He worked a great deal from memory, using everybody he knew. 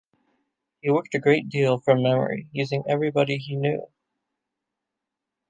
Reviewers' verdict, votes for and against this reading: accepted, 2, 0